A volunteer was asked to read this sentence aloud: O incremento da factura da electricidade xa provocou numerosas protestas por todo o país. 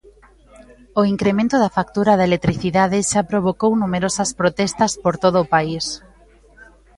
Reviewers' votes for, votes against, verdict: 2, 0, accepted